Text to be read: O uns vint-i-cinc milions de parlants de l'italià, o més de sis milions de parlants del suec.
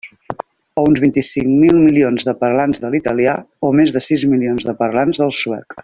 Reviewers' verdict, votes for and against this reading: rejected, 1, 2